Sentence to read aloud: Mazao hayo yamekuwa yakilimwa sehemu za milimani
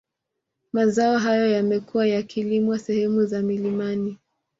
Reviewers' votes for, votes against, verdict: 2, 0, accepted